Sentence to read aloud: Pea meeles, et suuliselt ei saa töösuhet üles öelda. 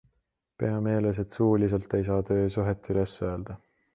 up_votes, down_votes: 2, 0